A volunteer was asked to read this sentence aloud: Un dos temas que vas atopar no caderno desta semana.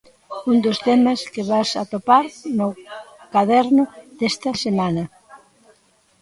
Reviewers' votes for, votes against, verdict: 2, 1, accepted